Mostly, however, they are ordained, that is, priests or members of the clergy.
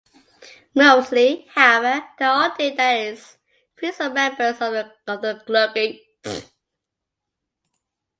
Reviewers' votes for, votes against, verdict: 0, 2, rejected